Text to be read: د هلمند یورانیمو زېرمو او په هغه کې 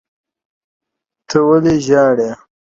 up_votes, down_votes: 1, 2